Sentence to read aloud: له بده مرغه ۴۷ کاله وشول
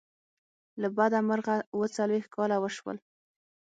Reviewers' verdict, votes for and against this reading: rejected, 0, 2